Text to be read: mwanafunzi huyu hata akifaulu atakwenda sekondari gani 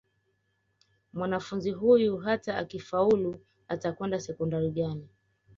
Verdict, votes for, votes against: accepted, 2, 1